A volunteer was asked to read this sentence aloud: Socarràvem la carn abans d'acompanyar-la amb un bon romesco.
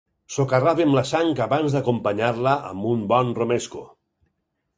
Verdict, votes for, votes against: rejected, 2, 4